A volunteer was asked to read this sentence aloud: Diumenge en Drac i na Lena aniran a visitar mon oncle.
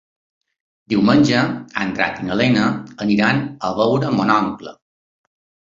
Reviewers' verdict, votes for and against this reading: rejected, 0, 3